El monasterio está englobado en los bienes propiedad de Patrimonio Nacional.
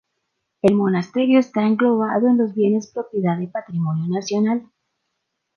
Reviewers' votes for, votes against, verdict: 2, 0, accepted